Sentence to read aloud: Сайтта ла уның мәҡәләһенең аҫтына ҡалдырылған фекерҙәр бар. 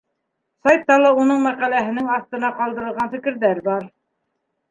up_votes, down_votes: 2, 0